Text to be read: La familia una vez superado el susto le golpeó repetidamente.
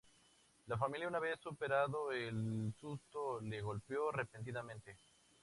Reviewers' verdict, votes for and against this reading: rejected, 2, 2